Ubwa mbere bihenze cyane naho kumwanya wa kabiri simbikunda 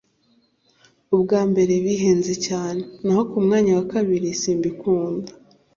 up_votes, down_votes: 2, 0